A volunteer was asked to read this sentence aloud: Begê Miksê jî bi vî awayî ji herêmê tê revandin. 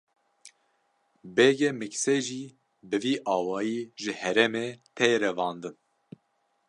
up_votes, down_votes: 2, 0